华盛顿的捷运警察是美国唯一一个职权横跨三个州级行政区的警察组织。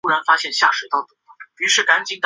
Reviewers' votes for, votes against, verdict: 1, 2, rejected